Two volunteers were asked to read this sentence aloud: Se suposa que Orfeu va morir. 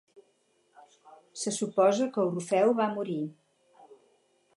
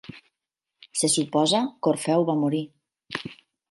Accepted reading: second